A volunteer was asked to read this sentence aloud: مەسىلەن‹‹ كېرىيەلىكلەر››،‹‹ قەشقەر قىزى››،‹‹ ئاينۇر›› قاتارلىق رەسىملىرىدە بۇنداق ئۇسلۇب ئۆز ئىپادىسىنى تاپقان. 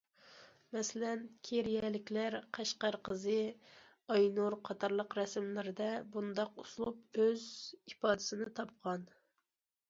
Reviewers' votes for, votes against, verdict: 2, 0, accepted